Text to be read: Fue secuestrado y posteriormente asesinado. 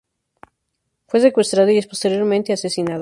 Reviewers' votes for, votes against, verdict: 0, 2, rejected